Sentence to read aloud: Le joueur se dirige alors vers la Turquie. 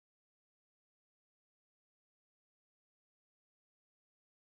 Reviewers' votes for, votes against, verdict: 1, 3, rejected